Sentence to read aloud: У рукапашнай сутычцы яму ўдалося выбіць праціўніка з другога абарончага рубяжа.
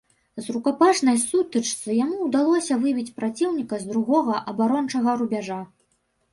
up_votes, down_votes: 1, 2